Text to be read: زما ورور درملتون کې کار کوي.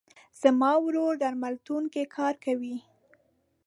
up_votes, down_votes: 2, 0